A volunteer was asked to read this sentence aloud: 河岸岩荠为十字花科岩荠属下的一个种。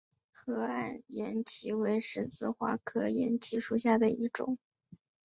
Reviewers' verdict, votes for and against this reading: accepted, 5, 1